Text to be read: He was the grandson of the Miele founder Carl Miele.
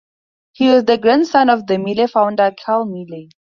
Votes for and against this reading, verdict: 2, 0, accepted